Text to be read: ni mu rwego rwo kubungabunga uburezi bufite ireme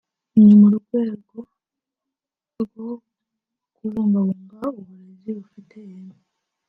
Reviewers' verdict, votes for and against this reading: accepted, 2, 0